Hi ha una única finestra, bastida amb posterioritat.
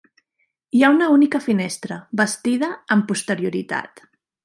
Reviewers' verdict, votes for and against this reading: accepted, 3, 0